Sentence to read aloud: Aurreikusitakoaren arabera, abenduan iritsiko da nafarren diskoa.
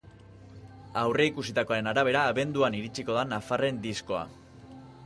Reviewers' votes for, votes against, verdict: 2, 0, accepted